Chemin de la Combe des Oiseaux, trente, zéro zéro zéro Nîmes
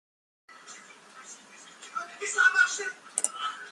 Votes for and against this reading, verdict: 0, 2, rejected